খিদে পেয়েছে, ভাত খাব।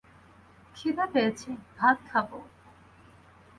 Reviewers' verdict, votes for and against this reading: rejected, 2, 2